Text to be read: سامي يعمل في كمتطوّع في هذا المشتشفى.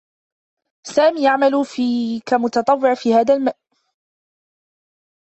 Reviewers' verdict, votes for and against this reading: rejected, 0, 2